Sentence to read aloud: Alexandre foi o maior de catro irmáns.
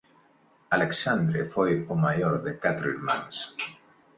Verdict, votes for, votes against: accepted, 3, 0